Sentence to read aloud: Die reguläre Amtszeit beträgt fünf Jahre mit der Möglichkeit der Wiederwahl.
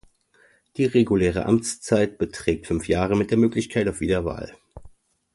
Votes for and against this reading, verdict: 1, 2, rejected